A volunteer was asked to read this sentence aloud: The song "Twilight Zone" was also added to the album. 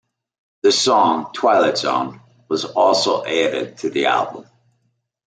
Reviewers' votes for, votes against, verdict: 2, 0, accepted